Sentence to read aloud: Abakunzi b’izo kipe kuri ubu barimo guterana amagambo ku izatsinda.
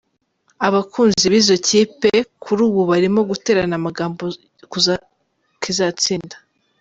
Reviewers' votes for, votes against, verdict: 1, 2, rejected